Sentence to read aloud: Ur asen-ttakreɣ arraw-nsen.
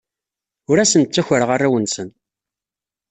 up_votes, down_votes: 2, 0